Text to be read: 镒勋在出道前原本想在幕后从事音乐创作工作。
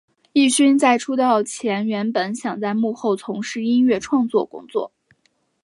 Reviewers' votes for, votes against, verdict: 8, 0, accepted